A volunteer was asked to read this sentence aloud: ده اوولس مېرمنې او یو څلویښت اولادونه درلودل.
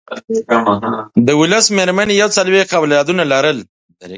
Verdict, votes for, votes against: rejected, 0, 4